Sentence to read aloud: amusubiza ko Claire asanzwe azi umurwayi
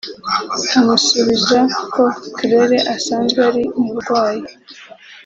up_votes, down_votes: 2, 1